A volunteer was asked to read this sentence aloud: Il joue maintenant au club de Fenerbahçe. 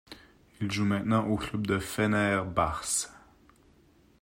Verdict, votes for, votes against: rejected, 1, 2